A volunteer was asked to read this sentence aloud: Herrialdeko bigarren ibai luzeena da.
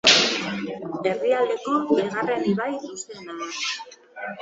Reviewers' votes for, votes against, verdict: 2, 2, rejected